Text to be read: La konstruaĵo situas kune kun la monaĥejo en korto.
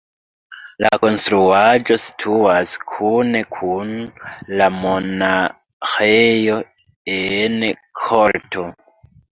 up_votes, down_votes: 1, 2